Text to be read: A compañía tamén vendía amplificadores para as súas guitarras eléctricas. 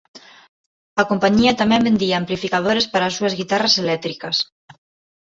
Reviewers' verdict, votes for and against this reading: accepted, 2, 1